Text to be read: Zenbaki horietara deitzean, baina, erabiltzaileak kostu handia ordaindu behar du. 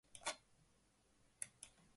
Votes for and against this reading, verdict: 0, 2, rejected